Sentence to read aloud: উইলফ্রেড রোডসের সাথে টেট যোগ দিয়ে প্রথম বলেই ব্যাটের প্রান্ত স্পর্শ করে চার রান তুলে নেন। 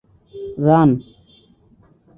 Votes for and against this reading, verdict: 0, 2, rejected